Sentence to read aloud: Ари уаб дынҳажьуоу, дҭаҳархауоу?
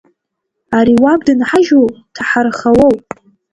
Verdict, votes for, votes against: rejected, 0, 2